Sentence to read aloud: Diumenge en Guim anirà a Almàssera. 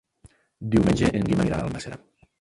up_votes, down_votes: 1, 5